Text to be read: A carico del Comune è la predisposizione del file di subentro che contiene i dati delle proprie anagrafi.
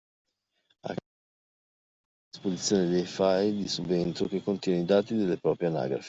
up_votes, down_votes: 0, 2